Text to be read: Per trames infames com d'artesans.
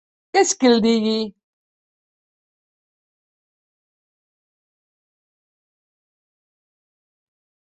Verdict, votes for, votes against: rejected, 0, 2